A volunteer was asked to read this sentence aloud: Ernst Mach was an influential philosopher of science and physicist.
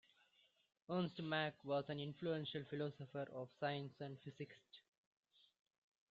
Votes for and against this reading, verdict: 1, 2, rejected